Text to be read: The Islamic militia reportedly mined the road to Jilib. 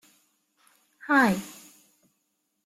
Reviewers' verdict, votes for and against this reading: rejected, 0, 2